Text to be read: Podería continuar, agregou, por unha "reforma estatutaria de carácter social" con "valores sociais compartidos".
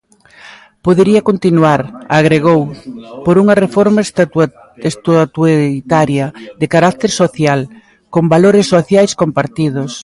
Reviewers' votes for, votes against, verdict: 0, 2, rejected